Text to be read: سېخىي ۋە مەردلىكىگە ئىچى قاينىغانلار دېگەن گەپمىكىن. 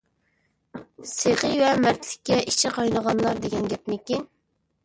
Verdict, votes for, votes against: accepted, 2, 0